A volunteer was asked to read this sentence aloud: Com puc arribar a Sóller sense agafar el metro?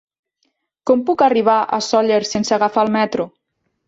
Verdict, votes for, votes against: rejected, 1, 2